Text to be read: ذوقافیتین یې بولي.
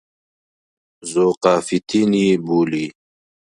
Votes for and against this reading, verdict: 2, 0, accepted